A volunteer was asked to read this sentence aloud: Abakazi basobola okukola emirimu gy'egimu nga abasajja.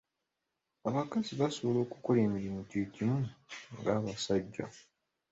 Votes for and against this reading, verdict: 2, 0, accepted